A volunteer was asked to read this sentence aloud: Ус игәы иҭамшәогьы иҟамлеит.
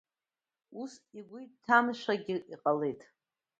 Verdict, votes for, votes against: rejected, 0, 2